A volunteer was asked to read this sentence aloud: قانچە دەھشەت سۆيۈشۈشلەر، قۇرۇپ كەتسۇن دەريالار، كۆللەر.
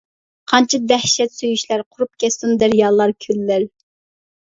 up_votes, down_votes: 0, 2